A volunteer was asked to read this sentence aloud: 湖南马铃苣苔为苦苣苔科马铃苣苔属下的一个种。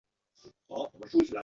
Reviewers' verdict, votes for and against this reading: rejected, 0, 4